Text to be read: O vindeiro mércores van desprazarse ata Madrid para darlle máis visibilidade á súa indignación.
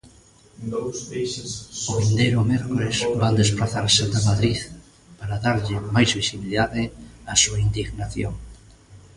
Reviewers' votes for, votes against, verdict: 0, 2, rejected